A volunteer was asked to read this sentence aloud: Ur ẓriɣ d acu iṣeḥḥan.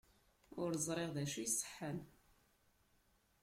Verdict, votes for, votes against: rejected, 0, 2